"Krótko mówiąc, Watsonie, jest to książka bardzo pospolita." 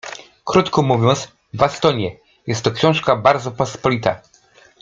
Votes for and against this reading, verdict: 0, 2, rejected